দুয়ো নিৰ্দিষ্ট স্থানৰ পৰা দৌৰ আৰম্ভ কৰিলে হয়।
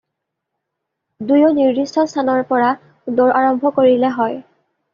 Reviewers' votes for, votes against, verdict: 2, 0, accepted